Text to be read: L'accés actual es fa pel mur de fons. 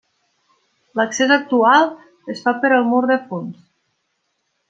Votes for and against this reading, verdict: 1, 3, rejected